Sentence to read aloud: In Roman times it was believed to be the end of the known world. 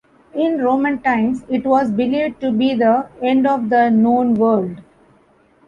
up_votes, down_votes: 2, 0